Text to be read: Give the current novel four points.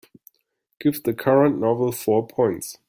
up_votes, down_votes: 2, 0